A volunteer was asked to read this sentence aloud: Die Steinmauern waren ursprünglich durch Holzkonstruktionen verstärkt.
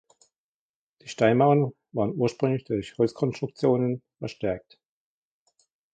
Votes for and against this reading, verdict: 1, 2, rejected